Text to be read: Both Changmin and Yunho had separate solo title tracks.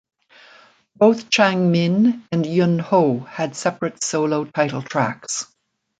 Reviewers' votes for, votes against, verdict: 2, 0, accepted